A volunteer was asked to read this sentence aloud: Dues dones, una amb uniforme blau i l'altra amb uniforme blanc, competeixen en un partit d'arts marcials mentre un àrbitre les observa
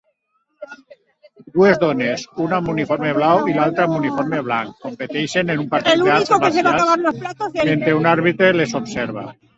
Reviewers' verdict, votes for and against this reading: rejected, 1, 4